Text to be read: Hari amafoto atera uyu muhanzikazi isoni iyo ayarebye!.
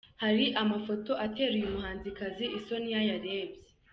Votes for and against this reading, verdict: 2, 1, accepted